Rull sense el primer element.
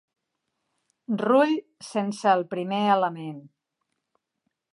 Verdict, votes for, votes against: accepted, 3, 0